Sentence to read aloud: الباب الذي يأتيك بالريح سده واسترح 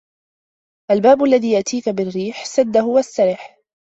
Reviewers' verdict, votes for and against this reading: accepted, 2, 1